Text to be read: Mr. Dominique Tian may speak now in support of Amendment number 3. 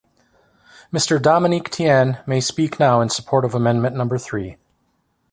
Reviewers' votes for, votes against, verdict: 0, 2, rejected